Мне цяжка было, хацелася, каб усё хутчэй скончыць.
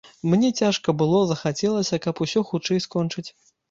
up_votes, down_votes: 0, 3